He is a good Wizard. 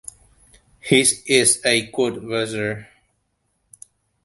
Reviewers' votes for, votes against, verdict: 0, 2, rejected